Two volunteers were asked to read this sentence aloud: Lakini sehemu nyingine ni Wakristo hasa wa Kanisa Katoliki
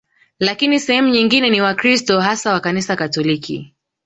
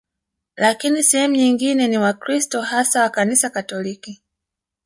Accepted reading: first